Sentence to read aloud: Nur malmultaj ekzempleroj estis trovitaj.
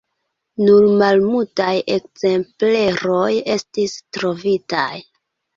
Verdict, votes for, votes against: accepted, 3, 0